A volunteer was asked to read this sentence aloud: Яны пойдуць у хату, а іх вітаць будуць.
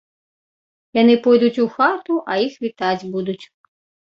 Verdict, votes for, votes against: accepted, 2, 0